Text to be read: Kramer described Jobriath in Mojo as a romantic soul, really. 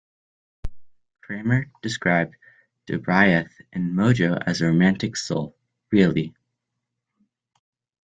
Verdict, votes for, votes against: accepted, 2, 0